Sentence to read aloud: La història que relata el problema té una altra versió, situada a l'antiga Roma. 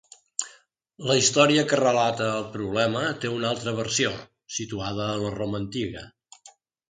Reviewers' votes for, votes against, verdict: 0, 2, rejected